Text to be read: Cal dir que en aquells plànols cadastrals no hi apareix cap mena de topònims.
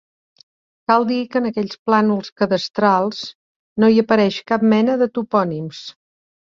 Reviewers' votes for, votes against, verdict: 3, 0, accepted